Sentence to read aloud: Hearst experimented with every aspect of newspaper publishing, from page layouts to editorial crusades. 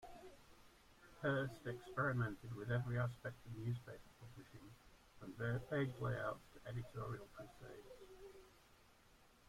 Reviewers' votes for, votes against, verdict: 1, 2, rejected